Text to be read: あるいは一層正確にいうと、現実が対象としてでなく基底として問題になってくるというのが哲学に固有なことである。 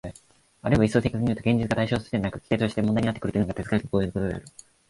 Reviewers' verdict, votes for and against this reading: rejected, 0, 2